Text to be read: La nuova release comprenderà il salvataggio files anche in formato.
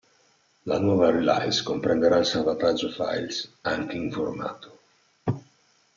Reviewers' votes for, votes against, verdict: 0, 2, rejected